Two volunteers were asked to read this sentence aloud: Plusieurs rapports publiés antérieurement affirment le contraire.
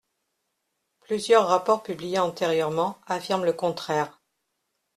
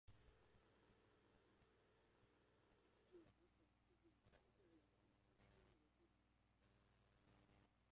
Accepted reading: first